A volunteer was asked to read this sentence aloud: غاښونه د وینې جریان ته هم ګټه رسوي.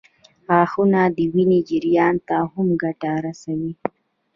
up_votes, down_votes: 2, 1